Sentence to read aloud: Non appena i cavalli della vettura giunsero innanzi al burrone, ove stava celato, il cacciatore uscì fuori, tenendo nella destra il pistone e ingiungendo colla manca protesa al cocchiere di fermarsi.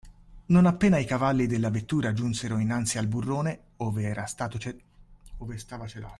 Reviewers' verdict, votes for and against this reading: rejected, 0, 2